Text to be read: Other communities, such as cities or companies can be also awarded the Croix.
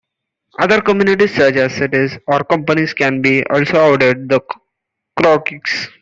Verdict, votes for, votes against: rejected, 0, 2